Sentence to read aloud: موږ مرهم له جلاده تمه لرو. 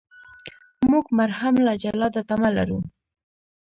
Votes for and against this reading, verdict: 0, 2, rejected